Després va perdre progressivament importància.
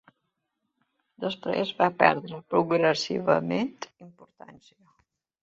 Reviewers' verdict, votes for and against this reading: accepted, 2, 0